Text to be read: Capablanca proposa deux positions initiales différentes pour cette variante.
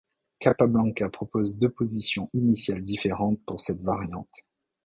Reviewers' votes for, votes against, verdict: 0, 2, rejected